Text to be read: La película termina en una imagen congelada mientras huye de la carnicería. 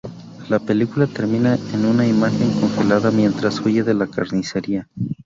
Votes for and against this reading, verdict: 0, 2, rejected